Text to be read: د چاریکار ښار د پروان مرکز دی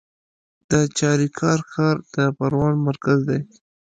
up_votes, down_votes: 2, 0